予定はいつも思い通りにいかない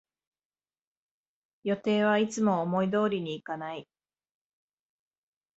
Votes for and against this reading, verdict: 9, 1, accepted